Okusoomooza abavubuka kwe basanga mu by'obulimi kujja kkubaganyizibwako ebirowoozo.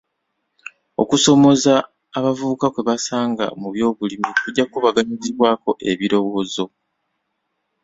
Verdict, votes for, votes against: accepted, 2, 0